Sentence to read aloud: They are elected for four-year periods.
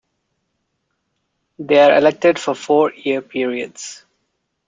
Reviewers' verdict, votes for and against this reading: accepted, 2, 0